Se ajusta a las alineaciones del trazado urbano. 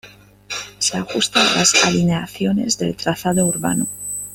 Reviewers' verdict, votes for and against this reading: rejected, 1, 2